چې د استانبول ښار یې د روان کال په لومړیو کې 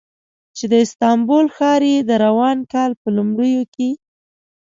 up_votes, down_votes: 2, 0